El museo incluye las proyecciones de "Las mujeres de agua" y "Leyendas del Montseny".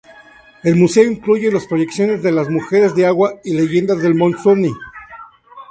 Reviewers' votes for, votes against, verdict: 0, 2, rejected